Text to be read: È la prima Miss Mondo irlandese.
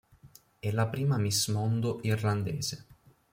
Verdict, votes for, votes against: accepted, 2, 0